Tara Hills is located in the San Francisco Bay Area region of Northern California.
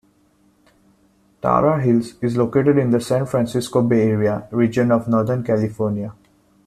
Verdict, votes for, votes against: accepted, 2, 0